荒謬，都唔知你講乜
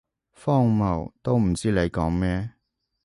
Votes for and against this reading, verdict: 0, 2, rejected